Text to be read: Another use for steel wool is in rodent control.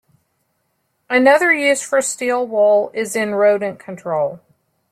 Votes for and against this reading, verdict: 2, 0, accepted